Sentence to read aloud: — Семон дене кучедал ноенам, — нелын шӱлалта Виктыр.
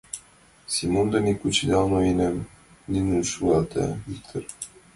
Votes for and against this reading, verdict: 2, 1, accepted